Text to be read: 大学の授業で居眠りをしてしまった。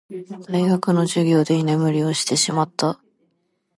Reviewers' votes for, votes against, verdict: 2, 0, accepted